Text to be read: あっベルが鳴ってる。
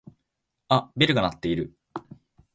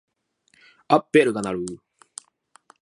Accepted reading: first